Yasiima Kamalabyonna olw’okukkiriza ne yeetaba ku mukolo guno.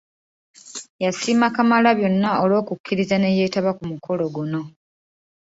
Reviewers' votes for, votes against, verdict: 2, 0, accepted